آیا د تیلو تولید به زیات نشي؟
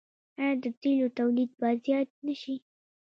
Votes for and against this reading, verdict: 2, 0, accepted